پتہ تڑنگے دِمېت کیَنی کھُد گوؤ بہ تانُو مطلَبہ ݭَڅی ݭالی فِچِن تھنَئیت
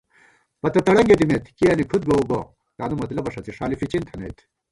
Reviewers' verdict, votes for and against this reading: rejected, 1, 2